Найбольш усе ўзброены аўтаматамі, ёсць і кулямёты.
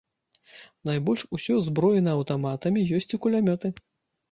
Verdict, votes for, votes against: rejected, 0, 2